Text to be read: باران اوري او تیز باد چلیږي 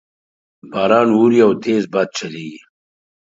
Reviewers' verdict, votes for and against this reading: accepted, 5, 0